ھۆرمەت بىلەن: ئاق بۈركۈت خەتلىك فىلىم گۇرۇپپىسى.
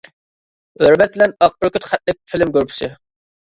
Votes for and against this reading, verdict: 2, 1, accepted